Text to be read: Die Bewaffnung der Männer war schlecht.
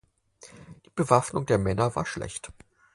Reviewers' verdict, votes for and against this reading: accepted, 4, 0